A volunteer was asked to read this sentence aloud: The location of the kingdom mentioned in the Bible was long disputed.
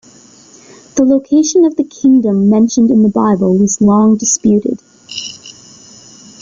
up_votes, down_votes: 2, 1